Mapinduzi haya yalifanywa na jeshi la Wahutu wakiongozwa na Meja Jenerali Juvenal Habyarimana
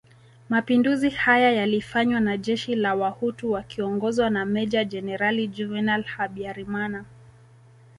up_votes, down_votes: 2, 1